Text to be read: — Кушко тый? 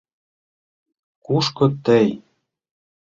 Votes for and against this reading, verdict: 2, 0, accepted